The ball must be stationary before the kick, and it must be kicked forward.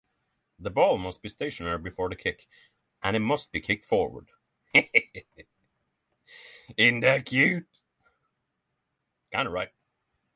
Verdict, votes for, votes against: rejected, 0, 6